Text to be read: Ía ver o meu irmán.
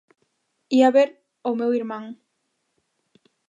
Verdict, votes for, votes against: accepted, 2, 0